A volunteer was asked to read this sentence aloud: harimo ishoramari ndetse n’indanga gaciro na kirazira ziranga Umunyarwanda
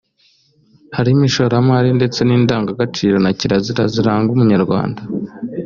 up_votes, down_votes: 2, 0